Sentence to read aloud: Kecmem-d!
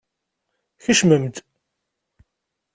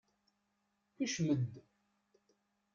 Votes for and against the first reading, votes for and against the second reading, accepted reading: 2, 0, 0, 2, first